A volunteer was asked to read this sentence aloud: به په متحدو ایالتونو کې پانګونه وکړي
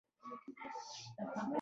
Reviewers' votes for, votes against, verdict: 0, 2, rejected